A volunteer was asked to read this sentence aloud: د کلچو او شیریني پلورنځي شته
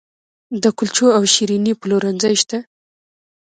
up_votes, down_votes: 3, 0